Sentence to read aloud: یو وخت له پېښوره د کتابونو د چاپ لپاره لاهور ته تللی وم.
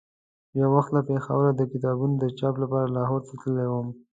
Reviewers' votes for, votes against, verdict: 2, 0, accepted